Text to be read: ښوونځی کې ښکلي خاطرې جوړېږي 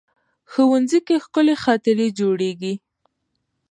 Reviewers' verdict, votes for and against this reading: accepted, 2, 0